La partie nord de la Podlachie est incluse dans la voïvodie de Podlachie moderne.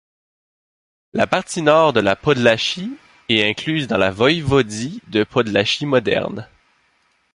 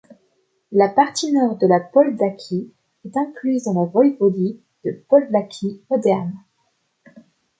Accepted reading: first